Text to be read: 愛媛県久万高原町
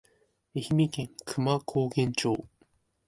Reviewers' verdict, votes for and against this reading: rejected, 1, 2